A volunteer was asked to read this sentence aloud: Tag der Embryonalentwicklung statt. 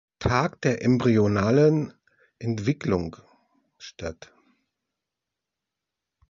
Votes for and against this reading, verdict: 1, 2, rejected